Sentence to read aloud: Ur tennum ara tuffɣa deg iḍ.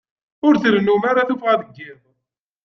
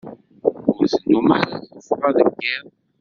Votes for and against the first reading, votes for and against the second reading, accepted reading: 2, 0, 0, 2, first